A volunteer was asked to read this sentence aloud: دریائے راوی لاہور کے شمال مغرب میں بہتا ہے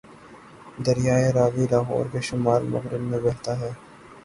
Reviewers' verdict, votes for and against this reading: accepted, 3, 0